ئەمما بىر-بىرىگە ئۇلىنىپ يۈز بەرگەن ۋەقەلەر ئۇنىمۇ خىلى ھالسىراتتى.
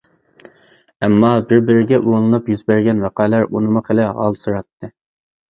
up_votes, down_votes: 2, 0